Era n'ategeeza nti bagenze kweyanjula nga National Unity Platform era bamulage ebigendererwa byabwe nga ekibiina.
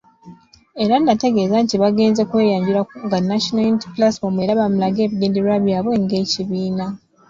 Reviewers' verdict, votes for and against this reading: rejected, 0, 2